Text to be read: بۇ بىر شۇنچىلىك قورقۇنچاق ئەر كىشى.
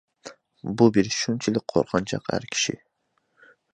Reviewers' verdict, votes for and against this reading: accepted, 2, 1